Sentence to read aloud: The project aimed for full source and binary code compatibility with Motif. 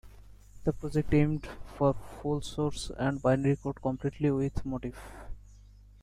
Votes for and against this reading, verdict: 1, 2, rejected